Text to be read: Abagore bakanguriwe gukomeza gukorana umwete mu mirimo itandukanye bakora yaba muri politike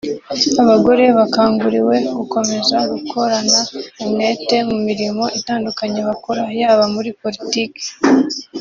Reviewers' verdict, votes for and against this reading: accepted, 2, 0